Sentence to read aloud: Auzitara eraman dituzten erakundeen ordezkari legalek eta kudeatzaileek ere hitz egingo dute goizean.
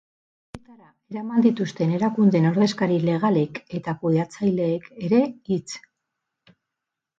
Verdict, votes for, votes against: rejected, 0, 4